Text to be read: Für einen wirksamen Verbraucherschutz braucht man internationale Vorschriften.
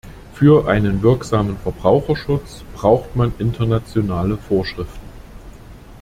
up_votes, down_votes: 2, 0